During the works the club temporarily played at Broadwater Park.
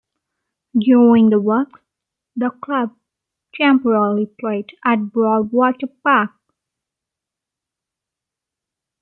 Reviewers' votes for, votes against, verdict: 1, 2, rejected